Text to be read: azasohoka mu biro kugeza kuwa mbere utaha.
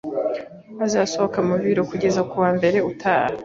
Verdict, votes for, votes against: accepted, 2, 0